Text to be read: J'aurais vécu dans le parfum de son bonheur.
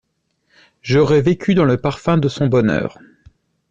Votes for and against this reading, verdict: 2, 0, accepted